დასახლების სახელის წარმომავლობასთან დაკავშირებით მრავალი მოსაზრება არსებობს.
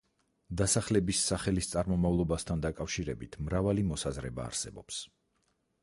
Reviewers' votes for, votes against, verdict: 4, 0, accepted